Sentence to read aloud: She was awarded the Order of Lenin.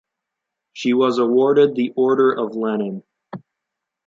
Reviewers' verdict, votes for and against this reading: accepted, 2, 0